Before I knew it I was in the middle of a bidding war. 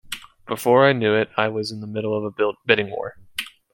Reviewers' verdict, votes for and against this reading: rejected, 0, 2